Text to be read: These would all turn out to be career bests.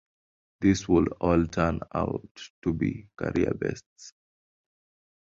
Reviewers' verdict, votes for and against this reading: accepted, 2, 0